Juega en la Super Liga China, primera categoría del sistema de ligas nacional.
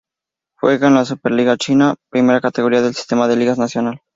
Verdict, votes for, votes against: accepted, 2, 0